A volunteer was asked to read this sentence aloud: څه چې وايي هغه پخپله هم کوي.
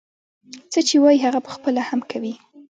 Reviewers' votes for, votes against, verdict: 1, 2, rejected